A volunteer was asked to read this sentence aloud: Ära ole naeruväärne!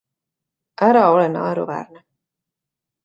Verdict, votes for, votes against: accepted, 2, 1